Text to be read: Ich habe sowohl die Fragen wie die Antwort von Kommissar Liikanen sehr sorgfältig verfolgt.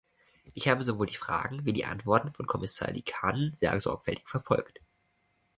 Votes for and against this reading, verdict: 0, 2, rejected